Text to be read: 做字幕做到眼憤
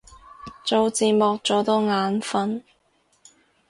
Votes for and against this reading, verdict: 0, 2, rejected